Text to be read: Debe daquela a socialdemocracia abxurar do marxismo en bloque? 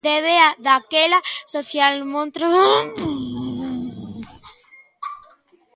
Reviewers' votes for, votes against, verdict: 0, 2, rejected